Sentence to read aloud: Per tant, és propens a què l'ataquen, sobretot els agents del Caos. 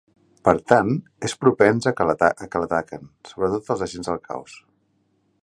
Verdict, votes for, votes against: accepted, 2, 1